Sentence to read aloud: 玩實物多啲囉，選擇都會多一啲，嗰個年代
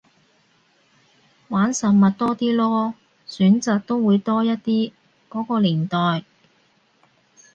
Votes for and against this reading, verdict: 2, 0, accepted